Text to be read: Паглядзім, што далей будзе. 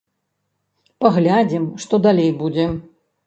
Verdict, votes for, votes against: accepted, 2, 1